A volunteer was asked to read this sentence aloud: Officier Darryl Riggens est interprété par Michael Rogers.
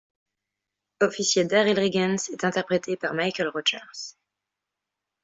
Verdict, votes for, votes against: accepted, 2, 0